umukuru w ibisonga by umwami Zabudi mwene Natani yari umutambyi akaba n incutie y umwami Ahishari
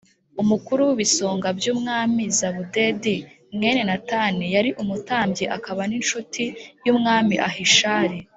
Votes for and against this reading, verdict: 1, 2, rejected